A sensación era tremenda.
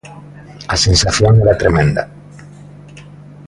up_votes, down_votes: 2, 0